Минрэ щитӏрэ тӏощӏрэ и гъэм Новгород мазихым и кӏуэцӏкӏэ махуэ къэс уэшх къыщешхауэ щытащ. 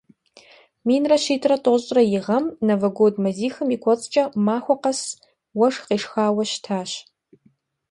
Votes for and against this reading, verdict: 1, 2, rejected